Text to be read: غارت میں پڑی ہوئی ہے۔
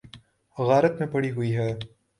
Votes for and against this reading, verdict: 2, 0, accepted